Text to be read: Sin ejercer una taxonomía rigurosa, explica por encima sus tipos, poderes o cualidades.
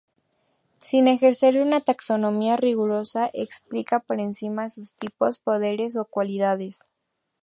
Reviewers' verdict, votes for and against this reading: accepted, 4, 0